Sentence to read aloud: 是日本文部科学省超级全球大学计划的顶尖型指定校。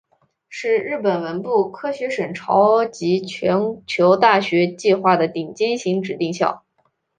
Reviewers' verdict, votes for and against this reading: accepted, 2, 0